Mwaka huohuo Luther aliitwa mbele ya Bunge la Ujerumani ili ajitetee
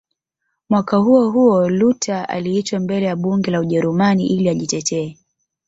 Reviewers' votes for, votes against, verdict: 1, 2, rejected